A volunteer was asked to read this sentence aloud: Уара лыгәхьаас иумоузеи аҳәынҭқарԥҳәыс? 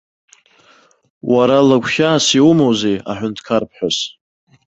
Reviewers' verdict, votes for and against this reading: rejected, 1, 2